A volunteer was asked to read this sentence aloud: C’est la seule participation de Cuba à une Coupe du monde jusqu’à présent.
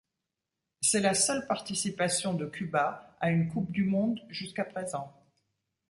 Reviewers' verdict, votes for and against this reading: accepted, 2, 0